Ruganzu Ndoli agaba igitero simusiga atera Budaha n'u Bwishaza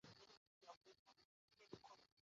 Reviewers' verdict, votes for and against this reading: rejected, 0, 2